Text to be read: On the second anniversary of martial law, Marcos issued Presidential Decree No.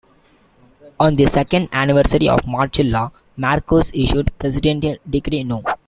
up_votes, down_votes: 0, 2